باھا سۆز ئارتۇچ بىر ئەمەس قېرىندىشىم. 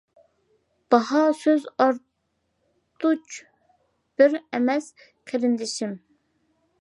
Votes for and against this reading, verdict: 2, 0, accepted